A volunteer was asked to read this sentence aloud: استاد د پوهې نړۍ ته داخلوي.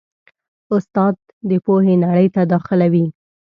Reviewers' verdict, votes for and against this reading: accepted, 2, 0